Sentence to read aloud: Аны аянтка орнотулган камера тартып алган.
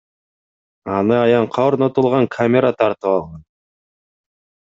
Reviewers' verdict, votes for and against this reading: accepted, 2, 0